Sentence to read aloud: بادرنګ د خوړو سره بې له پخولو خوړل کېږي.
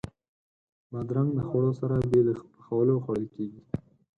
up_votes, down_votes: 4, 2